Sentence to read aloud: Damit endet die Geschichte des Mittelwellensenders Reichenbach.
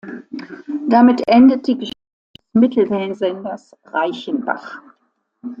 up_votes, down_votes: 0, 2